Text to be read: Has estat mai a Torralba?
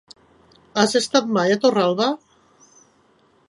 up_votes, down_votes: 3, 0